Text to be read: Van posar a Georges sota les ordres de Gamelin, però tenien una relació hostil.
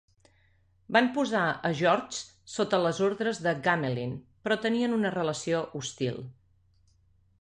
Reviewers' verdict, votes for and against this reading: accepted, 2, 0